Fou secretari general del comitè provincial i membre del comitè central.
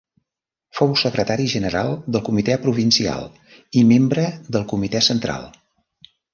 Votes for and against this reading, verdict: 3, 0, accepted